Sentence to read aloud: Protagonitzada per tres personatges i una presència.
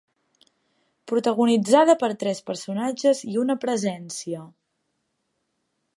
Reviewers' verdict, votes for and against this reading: accepted, 6, 0